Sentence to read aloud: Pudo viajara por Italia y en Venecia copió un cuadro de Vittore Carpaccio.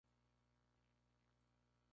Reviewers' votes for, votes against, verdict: 0, 2, rejected